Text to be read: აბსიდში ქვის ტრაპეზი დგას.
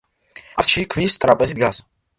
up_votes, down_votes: 1, 2